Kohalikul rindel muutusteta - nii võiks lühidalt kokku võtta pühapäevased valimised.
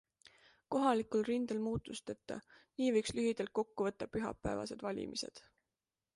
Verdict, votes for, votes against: accepted, 2, 0